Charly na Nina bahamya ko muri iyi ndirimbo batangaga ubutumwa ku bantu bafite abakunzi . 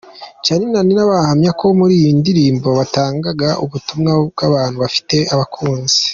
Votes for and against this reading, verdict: 2, 0, accepted